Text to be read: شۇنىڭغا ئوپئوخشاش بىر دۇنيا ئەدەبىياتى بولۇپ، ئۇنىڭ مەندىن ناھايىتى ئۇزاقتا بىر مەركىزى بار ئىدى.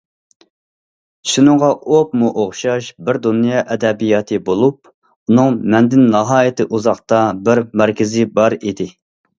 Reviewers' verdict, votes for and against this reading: rejected, 1, 2